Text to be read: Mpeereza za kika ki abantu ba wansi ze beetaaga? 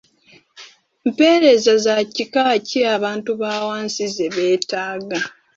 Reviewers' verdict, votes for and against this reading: rejected, 1, 2